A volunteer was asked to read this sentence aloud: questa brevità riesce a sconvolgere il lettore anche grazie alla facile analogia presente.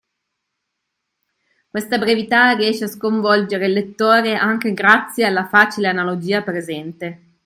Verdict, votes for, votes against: accepted, 2, 0